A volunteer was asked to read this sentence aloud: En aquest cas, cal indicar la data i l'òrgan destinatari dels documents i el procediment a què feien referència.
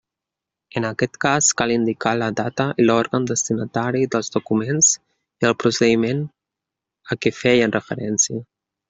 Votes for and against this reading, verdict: 2, 0, accepted